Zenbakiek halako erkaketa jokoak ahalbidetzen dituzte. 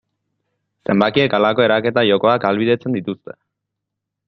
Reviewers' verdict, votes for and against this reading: rejected, 0, 2